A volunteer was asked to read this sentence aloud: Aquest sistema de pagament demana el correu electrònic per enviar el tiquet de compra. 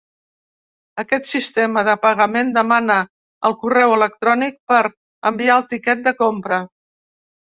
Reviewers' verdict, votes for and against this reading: accepted, 3, 0